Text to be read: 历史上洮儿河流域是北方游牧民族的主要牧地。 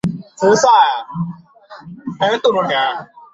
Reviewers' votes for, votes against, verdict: 0, 2, rejected